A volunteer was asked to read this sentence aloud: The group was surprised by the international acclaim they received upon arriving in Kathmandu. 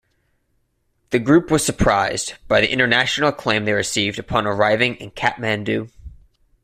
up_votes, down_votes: 2, 0